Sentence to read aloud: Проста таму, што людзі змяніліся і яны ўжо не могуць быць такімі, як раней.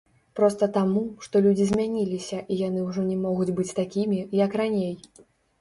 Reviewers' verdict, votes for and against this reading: rejected, 1, 2